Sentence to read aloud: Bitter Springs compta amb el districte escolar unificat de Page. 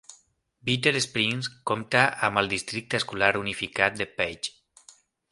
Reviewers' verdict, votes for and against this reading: accepted, 2, 0